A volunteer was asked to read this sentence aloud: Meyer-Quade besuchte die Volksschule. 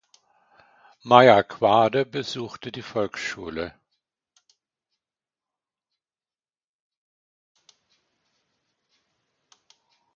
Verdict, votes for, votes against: accepted, 2, 0